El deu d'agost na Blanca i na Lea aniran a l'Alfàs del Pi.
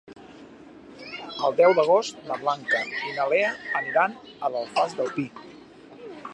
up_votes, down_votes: 2, 1